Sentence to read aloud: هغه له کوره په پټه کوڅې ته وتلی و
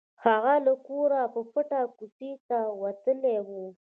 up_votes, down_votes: 2, 1